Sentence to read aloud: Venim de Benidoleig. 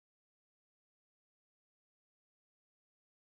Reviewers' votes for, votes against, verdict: 0, 2, rejected